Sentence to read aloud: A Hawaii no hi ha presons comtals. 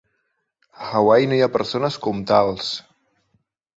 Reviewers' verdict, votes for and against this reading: rejected, 0, 3